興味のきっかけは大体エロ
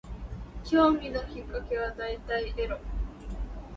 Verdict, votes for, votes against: rejected, 0, 2